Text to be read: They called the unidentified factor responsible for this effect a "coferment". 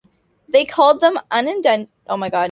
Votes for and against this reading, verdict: 0, 2, rejected